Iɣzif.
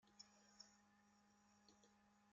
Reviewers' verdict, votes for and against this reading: rejected, 0, 2